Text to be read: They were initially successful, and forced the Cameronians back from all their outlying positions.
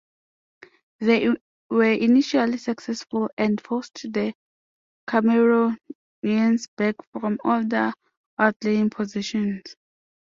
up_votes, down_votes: 0, 2